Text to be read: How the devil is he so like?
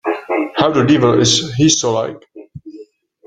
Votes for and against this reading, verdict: 1, 2, rejected